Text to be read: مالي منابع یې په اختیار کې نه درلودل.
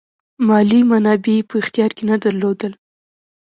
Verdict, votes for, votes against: accepted, 2, 0